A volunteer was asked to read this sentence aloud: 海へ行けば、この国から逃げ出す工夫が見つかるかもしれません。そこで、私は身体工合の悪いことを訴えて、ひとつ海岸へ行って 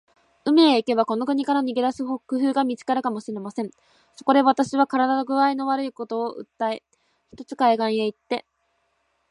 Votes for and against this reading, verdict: 2, 0, accepted